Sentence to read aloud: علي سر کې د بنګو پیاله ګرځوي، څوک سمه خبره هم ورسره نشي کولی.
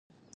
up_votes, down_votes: 1, 2